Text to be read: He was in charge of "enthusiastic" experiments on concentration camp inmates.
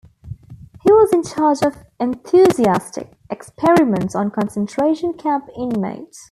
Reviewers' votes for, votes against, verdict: 2, 0, accepted